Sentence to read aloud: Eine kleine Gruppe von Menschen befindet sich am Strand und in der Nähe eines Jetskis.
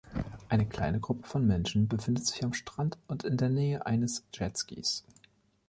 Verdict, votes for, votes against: accepted, 2, 0